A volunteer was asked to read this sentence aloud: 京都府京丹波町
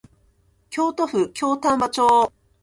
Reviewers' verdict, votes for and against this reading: accepted, 16, 0